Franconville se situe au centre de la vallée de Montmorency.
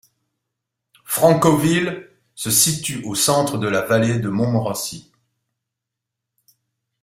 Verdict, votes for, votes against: rejected, 1, 2